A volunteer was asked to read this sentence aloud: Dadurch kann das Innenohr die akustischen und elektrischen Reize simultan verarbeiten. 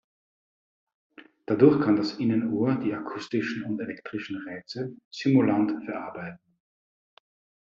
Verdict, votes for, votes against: rejected, 0, 2